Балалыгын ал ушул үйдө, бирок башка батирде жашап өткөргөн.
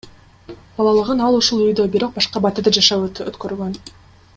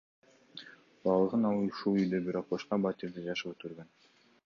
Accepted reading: second